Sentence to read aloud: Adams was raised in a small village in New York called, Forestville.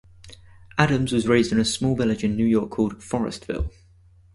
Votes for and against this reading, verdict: 4, 0, accepted